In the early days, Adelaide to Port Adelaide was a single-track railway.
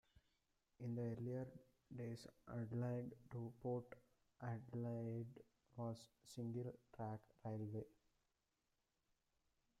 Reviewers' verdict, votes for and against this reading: rejected, 1, 2